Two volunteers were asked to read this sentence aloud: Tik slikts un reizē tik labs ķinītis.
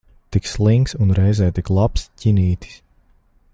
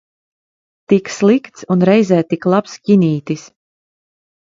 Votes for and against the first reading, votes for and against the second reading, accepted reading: 0, 2, 2, 0, second